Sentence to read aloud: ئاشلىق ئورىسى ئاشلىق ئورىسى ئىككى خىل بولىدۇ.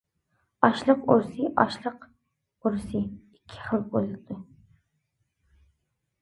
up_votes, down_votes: 0, 2